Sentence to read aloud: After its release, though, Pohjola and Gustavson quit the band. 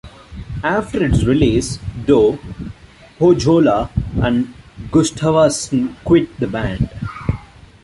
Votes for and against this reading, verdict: 1, 2, rejected